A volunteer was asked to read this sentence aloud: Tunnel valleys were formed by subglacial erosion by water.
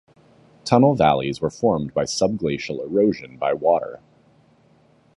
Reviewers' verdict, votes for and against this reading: accepted, 2, 0